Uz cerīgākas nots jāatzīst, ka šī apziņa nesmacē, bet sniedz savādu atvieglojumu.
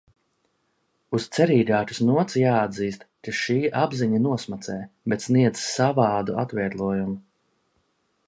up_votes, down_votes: 1, 2